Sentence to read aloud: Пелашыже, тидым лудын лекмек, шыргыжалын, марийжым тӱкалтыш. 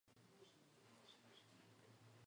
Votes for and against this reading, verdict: 1, 2, rejected